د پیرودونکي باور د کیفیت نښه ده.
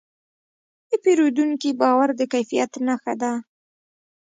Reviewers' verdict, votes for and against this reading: rejected, 1, 2